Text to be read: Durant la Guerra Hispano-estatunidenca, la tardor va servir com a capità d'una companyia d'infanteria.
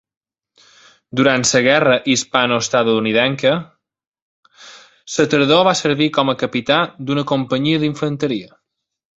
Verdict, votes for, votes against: rejected, 0, 2